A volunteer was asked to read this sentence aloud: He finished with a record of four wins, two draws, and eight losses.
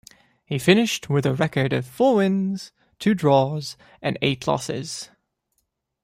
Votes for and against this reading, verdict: 2, 0, accepted